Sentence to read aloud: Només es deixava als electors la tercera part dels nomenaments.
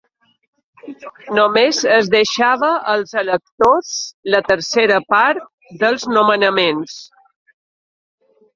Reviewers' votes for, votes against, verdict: 2, 0, accepted